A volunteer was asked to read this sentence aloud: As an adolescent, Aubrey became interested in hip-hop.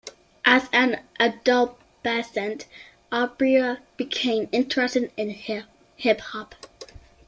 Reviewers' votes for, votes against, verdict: 0, 2, rejected